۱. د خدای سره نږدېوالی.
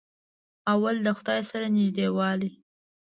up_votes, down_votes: 0, 2